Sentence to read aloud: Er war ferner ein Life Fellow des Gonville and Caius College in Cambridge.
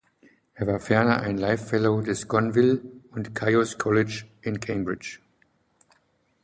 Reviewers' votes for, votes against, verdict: 1, 2, rejected